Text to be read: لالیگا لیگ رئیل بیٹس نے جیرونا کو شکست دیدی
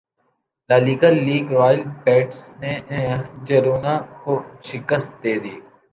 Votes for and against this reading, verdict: 2, 0, accepted